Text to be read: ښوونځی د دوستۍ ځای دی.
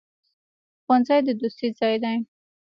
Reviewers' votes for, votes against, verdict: 2, 0, accepted